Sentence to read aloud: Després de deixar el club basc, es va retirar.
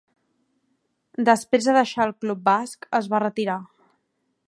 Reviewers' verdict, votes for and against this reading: accepted, 3, 0